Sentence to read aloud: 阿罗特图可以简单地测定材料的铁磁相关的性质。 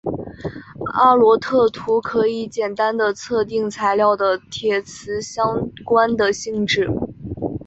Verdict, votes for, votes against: accepted, 2, 0